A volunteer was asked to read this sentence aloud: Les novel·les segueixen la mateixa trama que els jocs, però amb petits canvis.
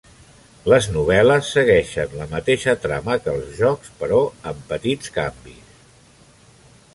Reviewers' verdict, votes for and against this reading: rejected, 1, 2